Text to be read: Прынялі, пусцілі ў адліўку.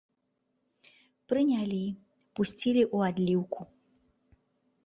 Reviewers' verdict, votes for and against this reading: accepted, 3, 1